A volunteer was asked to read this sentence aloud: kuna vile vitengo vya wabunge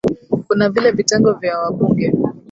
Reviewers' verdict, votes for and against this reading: rejected, 0, 2